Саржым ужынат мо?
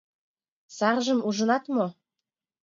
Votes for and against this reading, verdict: 6, 1, accepted